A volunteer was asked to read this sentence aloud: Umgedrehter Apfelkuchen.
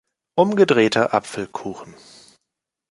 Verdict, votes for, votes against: accepted, 2, 0